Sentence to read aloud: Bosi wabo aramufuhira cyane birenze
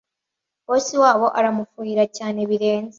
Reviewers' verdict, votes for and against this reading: accepted, 2, 0